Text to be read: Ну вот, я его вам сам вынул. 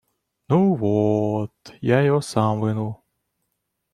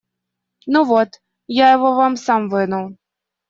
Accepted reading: second